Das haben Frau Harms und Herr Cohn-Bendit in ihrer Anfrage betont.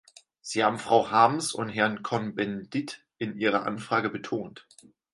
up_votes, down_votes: 0, 4